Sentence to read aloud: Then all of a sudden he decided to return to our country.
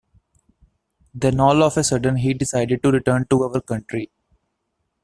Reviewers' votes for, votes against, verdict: 2, 0, accepted